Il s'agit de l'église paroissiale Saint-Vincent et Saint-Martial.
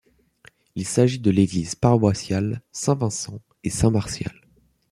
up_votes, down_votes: 2, 0